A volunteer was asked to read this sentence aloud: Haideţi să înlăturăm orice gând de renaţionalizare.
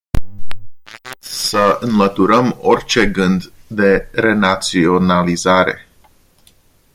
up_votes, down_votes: 0, 2